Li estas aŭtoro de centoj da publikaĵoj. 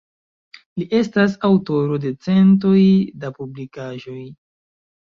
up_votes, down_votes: 2, 0